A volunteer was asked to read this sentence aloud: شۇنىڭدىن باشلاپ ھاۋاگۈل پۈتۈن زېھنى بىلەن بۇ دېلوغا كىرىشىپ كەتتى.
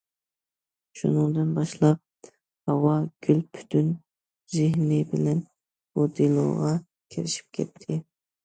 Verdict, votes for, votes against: accepted, 2, 0